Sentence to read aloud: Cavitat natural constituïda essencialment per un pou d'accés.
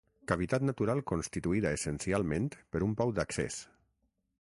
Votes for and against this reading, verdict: 6, 0, accepted